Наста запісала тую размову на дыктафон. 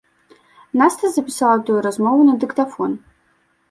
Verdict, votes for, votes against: accepted, 2, 0